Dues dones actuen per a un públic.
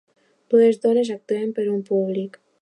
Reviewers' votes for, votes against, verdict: 1, 2, rejected